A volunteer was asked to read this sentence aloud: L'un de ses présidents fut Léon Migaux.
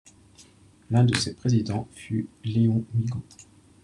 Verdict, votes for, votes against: accepted, 2, 0